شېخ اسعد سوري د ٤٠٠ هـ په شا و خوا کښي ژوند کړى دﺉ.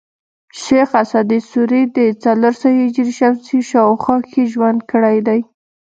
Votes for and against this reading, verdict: 0, 2, rejected